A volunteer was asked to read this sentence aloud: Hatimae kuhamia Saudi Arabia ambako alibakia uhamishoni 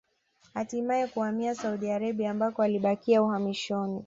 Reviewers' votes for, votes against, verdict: 2, 0, accepted